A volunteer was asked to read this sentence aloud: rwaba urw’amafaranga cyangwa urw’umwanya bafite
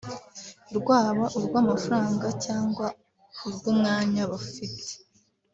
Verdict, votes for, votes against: accepted, 2, 0